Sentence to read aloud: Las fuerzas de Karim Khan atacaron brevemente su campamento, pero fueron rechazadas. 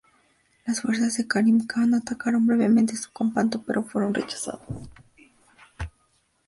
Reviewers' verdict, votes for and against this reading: rejected, 0, 2